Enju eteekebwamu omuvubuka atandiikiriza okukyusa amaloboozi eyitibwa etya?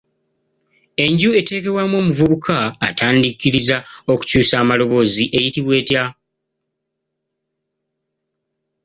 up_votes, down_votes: 1, 2